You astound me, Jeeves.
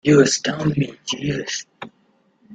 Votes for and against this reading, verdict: 2, 0, accepted